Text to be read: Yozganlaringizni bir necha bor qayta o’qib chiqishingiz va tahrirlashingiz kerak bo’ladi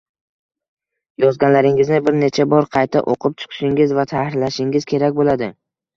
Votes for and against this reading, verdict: 2, 0, accepted